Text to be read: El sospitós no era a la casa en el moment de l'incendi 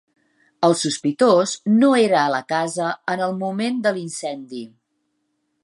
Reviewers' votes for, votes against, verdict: 3, 0, accepted